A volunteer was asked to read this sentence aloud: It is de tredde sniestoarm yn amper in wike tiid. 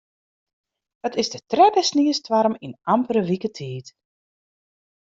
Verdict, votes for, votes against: rejected, 0, 2